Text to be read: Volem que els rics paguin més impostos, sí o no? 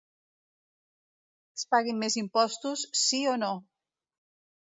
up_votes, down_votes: 1, 2